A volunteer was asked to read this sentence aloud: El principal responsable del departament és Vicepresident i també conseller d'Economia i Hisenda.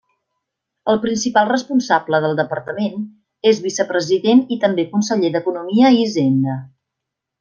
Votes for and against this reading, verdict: 2, 0, accepted